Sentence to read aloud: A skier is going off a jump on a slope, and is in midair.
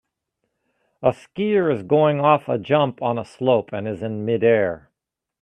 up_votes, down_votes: 2, 0